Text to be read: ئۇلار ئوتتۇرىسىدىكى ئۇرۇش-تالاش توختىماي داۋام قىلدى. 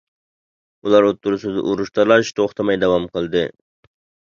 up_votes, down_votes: 0, 2